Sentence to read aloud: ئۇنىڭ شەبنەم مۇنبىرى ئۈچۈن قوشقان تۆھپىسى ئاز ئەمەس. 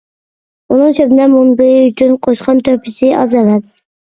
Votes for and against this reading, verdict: 1, 2, rejected